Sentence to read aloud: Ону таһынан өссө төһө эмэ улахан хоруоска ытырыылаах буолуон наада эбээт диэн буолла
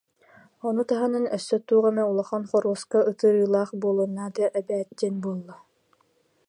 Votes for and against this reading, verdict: 1, 2, rejected